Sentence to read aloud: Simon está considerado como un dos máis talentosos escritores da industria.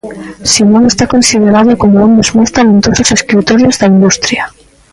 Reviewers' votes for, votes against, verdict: 0, 2, rejected